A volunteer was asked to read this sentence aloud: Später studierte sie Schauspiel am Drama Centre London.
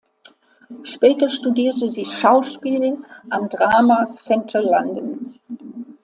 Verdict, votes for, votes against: accepted, 2, 0